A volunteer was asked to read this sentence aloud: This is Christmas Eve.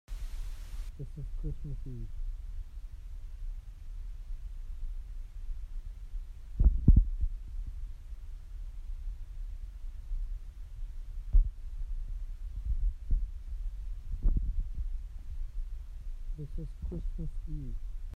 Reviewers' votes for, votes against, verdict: 0, 2, rejected